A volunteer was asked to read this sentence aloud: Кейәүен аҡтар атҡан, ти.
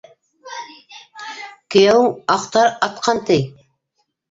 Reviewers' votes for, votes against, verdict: 0, 2, rejected